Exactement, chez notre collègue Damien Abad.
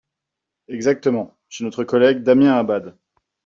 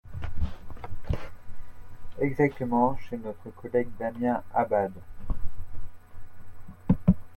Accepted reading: first